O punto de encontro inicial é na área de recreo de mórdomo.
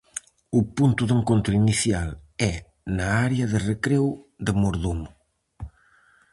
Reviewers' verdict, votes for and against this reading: rejected, 0, 4